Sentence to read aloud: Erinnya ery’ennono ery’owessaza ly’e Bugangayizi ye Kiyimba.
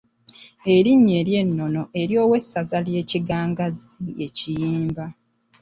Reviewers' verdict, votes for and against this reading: rejected, 0, 2